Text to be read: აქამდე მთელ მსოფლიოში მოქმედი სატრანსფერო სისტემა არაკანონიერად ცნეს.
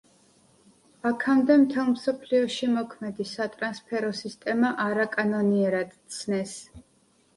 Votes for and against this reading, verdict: 2, 0, accepted